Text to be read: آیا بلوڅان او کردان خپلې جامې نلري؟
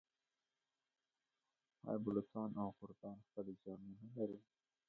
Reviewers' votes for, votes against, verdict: 0, 2, rejected